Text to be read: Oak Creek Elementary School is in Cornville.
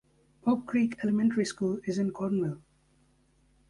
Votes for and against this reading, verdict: 2, 0, accepted